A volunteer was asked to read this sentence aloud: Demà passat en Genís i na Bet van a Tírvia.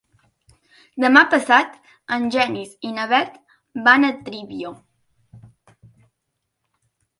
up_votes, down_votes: 0, 2